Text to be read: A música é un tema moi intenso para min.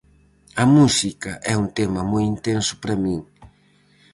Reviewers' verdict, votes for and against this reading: accepted, 4, 0